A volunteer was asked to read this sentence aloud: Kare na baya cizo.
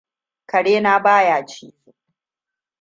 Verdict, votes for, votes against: rejected, 1, 2